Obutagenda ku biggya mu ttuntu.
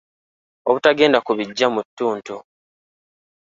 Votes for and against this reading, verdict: 2, 0, accepted